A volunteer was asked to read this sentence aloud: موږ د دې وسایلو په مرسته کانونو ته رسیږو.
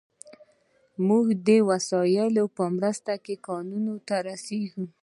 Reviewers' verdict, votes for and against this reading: accepted, 2, 0